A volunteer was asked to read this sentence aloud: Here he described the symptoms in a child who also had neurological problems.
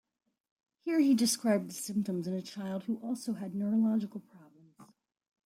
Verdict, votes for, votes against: rejected, 1, 2